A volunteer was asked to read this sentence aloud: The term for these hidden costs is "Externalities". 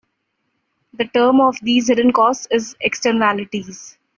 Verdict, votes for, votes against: rejected, 0, 2